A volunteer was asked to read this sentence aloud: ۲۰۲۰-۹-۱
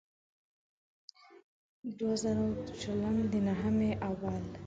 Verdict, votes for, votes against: rejected, 0, 2